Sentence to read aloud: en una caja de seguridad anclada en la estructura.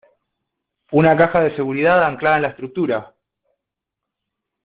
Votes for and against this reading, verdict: 1, 2, rejected